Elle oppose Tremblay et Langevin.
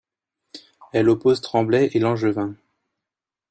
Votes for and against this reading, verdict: 2, 0, accepted